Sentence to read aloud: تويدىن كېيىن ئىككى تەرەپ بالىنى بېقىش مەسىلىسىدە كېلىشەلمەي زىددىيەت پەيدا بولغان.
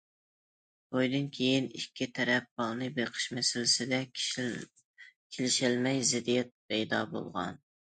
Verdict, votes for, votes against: rejected, 0, 2